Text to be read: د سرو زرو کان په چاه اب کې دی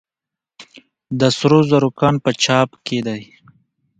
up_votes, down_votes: 2, 1